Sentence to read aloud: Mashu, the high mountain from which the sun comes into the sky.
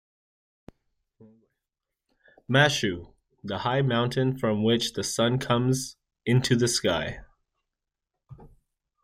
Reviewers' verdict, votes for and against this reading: accepted, 2, 0